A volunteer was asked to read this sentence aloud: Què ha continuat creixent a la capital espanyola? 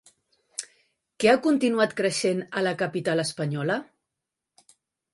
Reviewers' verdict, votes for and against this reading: accepted, 3, 0